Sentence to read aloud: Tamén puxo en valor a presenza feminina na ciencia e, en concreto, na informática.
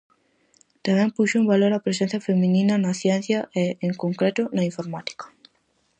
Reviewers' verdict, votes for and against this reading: accepted, 4, 0